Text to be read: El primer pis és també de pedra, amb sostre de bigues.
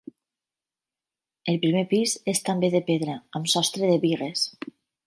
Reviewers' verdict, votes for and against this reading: accepted, 4, 0